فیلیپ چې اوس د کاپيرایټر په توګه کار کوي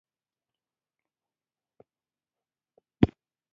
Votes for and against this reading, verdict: 0, 2, rejected